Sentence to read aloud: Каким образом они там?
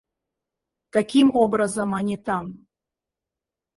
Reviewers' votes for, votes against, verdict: 2, 2, rejected